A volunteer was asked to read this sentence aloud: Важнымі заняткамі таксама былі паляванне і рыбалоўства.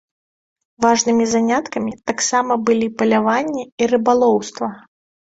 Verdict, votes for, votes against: accepted, 2, 0